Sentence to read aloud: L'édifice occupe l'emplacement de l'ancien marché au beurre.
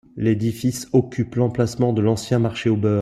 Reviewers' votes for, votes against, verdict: 2, 1, accepted